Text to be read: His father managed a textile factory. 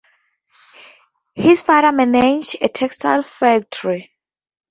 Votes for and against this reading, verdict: 0, 2, rejected